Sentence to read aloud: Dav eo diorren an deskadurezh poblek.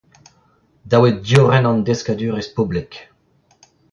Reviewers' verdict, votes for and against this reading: accepted, 2, 0